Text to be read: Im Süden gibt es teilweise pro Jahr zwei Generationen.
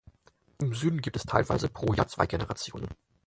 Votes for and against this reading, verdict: 4, 2, accepted